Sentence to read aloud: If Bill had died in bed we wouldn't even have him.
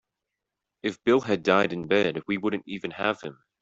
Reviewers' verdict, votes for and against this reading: accepted, 2, 0